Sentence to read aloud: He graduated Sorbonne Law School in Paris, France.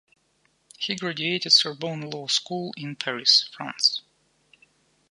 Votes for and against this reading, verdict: 2, 0, accepted